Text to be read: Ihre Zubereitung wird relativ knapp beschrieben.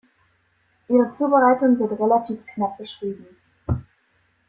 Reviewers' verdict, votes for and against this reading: accepted, 2, 0